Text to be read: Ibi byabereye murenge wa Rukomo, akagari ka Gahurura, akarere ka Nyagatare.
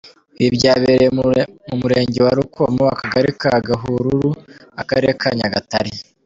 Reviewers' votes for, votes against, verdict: 0, 2, rejected